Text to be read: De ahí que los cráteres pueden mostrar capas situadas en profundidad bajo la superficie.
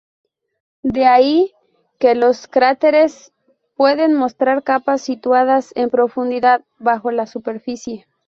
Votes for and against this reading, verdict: 4, 0, accepted